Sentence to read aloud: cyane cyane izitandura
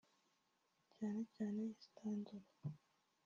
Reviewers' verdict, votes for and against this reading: rejected, 0, 3